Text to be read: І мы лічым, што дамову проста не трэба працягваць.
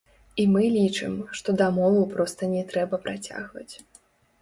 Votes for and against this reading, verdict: 0, 2, rejected